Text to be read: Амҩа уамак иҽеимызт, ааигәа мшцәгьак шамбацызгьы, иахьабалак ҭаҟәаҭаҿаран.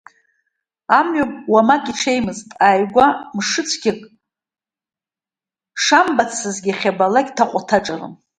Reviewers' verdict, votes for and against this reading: accepted, 2, 1